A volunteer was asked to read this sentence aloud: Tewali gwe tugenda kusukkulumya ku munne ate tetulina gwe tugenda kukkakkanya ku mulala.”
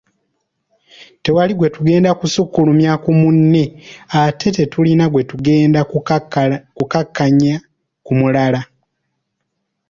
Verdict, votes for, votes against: rejected, 0, 2